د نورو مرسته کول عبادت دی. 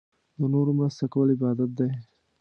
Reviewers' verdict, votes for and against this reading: accepted, 2, 0